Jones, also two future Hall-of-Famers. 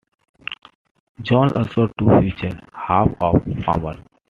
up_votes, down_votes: 2, 1